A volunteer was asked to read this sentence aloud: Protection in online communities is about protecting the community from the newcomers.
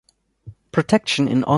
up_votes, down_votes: 1, 2